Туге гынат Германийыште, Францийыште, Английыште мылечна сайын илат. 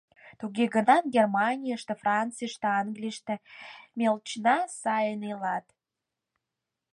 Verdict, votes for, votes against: rejected, 2, 4